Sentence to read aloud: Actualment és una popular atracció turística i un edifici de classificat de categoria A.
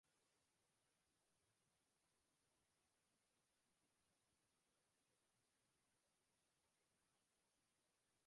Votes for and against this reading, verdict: 1, 2, rejected